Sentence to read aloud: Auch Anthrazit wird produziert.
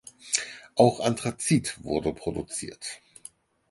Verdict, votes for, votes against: rejected, 2, 4